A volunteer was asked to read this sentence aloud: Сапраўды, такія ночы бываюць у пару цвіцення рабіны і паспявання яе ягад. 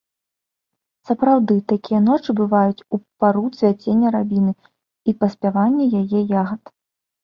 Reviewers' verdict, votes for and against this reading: rejected, 1, 2